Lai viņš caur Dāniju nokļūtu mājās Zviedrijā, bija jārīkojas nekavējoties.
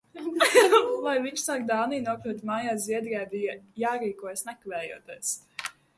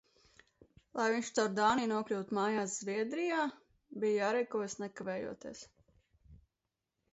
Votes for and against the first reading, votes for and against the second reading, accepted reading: 0, 2, 2, 0, second